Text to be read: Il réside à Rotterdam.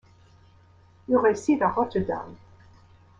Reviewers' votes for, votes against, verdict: 1, 2, rejected